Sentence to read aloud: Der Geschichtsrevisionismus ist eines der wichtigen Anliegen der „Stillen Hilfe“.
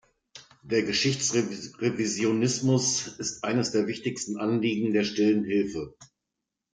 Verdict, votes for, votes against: rejected, 1, 2